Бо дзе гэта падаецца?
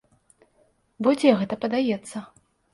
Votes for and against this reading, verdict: 2, 0, accepted